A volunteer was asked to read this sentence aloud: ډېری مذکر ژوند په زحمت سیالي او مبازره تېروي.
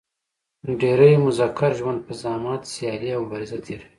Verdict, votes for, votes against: accepted, 2, 1